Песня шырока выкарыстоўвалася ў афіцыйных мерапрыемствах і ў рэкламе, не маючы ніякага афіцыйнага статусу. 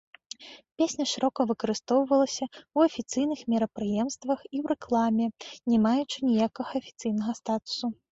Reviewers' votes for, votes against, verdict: 2, 0, accepted